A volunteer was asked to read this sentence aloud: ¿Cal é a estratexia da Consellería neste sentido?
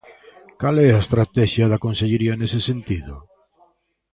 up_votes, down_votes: 0, 3